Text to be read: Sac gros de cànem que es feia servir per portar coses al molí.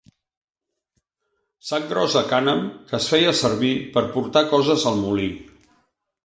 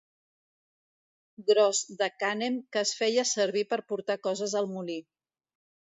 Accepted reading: first